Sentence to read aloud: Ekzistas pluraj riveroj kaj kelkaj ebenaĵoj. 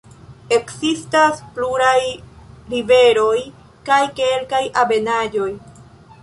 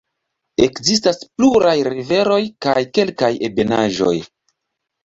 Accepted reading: second